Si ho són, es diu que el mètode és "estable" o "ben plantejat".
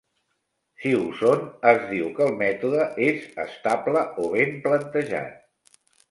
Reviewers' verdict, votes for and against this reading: rejected, 1, 2